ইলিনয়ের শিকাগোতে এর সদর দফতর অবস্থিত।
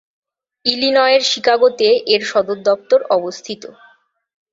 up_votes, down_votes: 2, 0